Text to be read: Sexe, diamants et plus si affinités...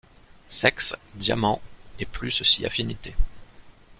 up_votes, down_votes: 2, 0